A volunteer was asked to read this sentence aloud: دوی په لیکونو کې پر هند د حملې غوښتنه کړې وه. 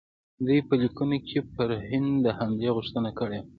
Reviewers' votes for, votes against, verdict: 1, 2, rejected